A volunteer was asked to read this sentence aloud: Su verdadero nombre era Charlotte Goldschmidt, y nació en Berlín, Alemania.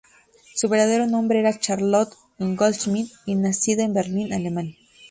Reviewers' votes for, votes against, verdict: 0, 2, rejected